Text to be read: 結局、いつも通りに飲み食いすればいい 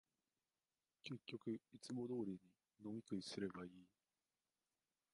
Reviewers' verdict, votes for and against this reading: rejected, 1, 5